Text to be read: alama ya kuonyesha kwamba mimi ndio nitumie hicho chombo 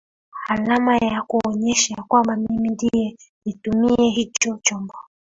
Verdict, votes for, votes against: accepted, 2, 1